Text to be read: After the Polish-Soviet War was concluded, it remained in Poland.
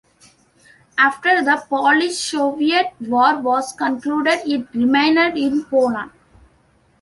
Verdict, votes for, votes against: rejected, 1, 2